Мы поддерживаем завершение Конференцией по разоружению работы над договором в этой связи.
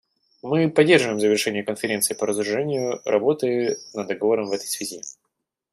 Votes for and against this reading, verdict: 2, 0, accepted